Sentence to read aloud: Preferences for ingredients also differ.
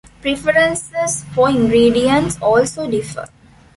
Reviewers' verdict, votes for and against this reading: rejected, 1, 2